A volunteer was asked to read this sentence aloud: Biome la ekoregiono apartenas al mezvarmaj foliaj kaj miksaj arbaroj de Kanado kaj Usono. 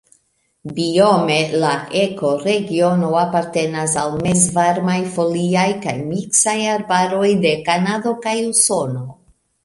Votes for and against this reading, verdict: 2, 1, accepted